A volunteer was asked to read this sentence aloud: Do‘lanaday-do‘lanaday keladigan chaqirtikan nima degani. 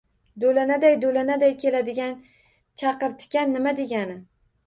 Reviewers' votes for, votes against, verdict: 1, 2, rejected